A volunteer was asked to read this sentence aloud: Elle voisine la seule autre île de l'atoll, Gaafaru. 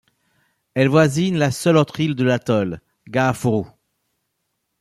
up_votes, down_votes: 0, 2